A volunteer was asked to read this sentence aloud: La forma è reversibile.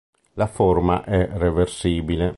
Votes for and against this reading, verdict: 2, 0, accepted